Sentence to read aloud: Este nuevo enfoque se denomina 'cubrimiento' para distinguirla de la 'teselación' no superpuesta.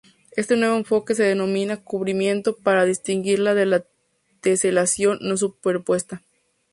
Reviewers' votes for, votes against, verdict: 2, 0, accepted